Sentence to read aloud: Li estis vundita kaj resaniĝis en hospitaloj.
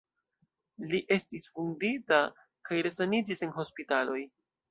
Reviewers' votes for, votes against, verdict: 3, 0, accepted